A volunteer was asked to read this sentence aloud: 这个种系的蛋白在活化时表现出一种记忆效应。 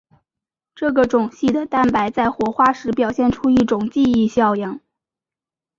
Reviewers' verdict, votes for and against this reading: accepted, 5, 0